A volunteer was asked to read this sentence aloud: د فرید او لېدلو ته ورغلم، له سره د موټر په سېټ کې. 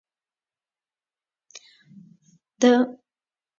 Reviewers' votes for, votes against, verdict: 0, 2, rejected